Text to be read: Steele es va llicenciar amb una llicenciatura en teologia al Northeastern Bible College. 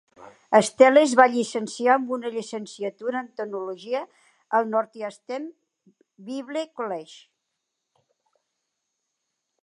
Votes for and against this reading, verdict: 1, 2, rejected